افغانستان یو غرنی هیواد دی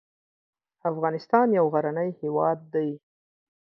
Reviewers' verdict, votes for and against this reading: accepted, 6, 0